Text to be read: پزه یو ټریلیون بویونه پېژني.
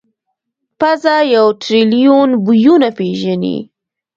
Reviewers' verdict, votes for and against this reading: rejected, 0, 2